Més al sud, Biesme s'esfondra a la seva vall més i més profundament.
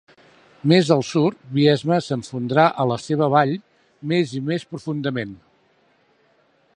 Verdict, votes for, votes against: accepted, 2, 1